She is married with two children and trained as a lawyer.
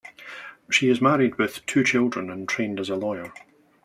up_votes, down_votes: 3, 0